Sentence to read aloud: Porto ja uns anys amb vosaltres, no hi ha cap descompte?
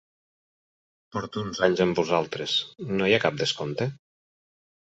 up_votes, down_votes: 2, 4